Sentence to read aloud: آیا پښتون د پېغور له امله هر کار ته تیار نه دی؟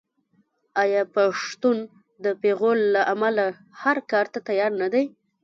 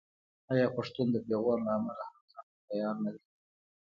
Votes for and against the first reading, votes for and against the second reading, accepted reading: 1, 2, 2, 0, second